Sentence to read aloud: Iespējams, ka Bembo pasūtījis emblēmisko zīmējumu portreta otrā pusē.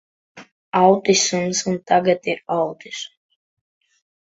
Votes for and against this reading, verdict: 0, 2, rejected